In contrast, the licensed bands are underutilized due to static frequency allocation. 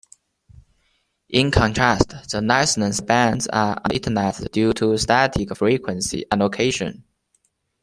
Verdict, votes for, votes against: rejected, 1, 2